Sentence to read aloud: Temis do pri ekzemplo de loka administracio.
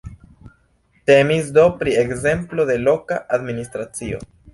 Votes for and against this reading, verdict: 3, 1, accepted